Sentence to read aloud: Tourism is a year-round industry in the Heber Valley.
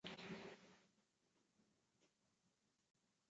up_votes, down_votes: 1, 2